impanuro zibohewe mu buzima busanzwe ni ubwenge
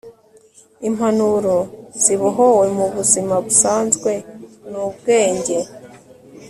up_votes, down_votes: 2, 0